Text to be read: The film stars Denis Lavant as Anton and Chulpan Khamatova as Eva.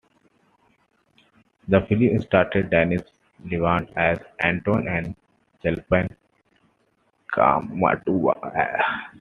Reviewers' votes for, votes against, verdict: 0, 2, rejected